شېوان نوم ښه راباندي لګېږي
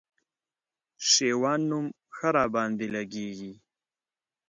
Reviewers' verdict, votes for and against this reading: accepted, 4, 0